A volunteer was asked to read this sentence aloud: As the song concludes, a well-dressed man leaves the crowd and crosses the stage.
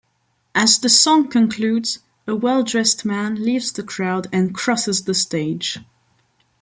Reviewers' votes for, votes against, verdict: 2, 0, accepted